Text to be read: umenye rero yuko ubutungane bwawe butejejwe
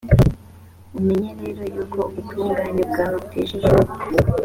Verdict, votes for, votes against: accepted, 2, 1